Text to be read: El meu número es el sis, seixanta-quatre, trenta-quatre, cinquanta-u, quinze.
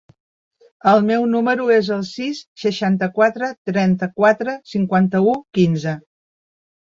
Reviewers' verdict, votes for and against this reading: accepted, 3, 1